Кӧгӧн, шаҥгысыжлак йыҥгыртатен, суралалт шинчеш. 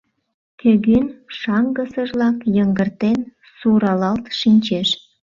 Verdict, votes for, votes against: rejected, 0, 2